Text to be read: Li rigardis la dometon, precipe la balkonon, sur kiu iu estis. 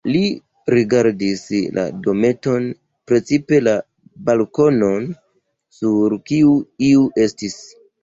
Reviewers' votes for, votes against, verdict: 2, 0, accepted